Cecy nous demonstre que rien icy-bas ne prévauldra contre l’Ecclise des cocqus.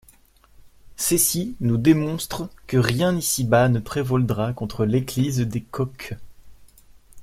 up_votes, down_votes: 0, 2